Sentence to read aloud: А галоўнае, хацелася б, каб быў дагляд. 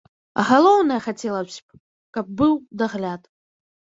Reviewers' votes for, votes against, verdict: 1, 2, rejected